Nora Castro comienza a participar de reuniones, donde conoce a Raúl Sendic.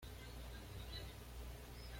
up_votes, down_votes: 1, 2